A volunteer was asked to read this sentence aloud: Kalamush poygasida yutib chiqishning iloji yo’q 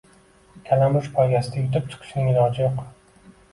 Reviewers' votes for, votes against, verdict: 1, 2, rejected